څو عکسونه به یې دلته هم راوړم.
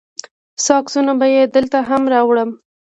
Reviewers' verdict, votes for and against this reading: accepted, 2, 0